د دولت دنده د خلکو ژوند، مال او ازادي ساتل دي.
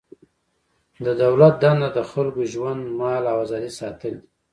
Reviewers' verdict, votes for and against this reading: rejected, 1, 2